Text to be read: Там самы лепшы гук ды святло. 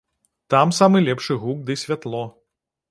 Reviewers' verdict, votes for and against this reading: accepted, 2, 0